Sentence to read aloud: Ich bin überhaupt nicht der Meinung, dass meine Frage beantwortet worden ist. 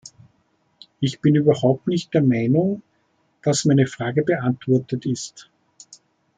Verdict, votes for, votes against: rejected, 1, 2